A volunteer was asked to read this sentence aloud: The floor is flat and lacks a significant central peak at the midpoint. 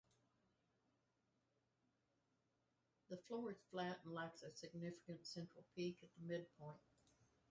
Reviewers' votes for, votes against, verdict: 0, 4, rejected